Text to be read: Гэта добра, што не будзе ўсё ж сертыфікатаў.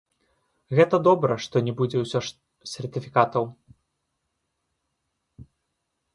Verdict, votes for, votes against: rejected, 1, 2